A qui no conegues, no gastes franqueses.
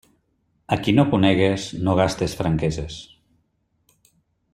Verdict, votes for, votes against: accepted, 3, 0